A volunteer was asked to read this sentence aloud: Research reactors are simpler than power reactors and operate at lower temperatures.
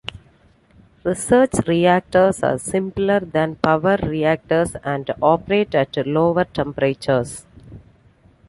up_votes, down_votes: 2, 0